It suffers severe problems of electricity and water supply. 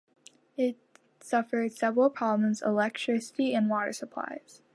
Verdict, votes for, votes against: rejected, 1, 2